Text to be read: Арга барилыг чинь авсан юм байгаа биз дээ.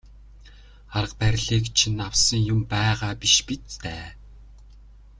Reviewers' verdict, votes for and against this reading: rejected, 1, 2